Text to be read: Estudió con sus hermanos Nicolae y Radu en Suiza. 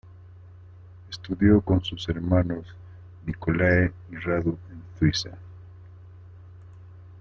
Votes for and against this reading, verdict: 0, 2, rejected